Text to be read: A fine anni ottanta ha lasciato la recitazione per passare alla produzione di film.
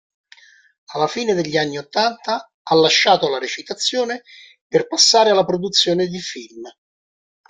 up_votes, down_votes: 1, 2